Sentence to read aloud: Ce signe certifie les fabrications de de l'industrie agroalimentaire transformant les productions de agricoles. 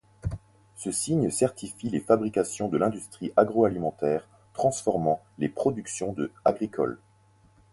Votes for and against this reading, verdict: 2, 4, rejected